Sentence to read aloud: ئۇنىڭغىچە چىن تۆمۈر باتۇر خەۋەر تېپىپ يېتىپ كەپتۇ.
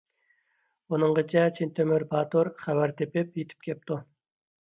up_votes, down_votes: 2, 0